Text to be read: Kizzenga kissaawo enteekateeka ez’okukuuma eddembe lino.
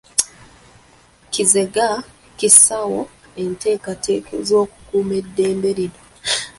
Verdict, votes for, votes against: rejected, 0, 2